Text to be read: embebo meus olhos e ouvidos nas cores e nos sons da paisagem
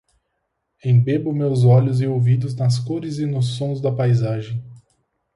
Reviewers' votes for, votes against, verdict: 4, 0, accepted